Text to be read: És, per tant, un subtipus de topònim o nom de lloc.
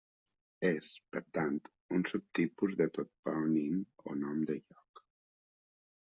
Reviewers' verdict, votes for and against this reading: rejected, 1, 2